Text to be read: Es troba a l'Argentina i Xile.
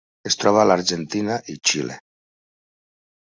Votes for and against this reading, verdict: 0, 2, rejected